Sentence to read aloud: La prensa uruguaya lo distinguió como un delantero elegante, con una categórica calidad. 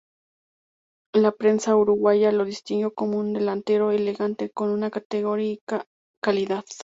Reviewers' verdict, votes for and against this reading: accepted, 2, 0